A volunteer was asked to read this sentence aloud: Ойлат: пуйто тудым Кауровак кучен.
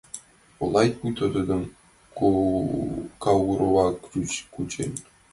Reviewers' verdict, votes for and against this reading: rejected, 0, 2